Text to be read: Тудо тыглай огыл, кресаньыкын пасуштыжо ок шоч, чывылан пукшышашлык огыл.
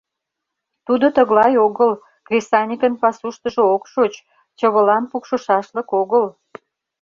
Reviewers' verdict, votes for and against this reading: accepted, 2, 0